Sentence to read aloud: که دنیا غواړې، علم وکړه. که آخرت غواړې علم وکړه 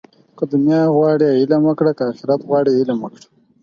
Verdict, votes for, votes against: accepted, 4, 0